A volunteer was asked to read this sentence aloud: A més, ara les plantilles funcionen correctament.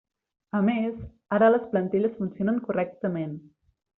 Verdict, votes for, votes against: accepted, 3, 0